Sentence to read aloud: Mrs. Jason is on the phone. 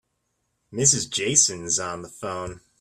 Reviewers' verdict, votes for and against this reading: accepted, 2, 0